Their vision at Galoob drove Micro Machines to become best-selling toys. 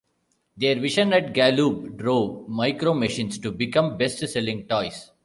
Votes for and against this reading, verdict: 0, 2, rejected